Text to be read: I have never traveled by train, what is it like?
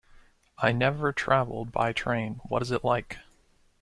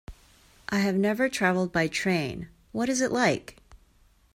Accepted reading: second